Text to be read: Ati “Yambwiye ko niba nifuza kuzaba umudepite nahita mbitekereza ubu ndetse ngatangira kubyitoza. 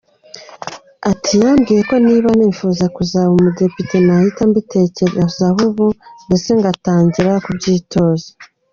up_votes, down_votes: 1, 2